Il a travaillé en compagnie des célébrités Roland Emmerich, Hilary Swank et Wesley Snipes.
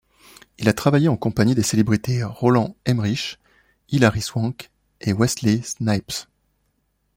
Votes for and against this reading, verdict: 2, 0, accepted